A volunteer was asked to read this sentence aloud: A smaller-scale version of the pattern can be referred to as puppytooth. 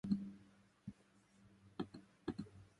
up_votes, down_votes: 0, 2